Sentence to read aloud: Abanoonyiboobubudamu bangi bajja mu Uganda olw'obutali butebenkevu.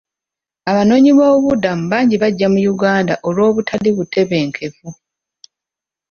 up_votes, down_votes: 2, 1